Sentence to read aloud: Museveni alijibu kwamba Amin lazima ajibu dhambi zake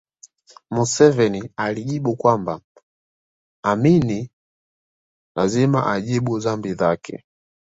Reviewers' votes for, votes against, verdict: 2, 0, accepted